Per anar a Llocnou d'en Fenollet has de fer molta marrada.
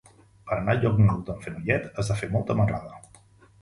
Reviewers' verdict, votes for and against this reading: rejected, 1, 2